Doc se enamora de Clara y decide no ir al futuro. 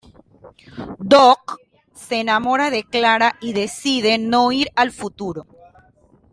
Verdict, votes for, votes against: accepted, 2, 0